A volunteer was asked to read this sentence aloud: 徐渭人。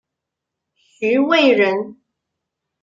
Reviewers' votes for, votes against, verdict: 2, 0, accepted